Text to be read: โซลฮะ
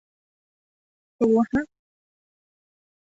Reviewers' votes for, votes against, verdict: 1, 2, rejected